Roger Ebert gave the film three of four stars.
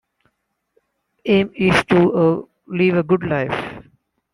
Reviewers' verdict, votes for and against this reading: rejected, 0, 2